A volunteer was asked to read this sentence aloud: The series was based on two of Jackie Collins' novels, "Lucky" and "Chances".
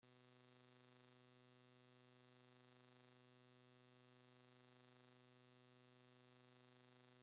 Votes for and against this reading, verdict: 0, 2, rejected